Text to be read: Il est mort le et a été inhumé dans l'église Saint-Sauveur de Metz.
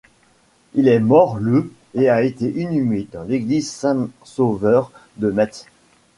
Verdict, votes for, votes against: rejected, 1, 2